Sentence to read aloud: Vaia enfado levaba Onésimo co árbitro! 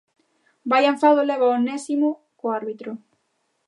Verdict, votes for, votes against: rejected, 0, 2